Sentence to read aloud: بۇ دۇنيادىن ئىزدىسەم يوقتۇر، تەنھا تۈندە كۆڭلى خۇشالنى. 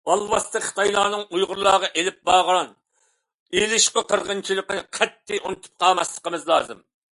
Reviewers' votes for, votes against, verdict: 0, 2, rejected